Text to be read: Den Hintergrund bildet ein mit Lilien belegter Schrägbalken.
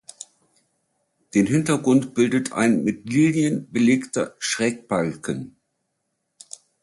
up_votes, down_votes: 2, 0